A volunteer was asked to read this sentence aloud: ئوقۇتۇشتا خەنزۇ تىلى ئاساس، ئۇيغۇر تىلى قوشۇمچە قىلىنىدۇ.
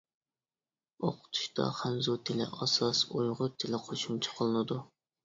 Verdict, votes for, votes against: rejected, 1, 2